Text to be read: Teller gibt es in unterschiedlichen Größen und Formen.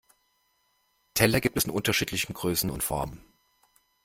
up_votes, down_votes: 2, 0